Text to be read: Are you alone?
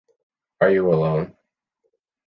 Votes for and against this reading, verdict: 2, 0, accepted